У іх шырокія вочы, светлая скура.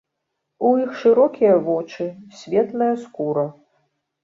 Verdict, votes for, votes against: accepted, 2, 0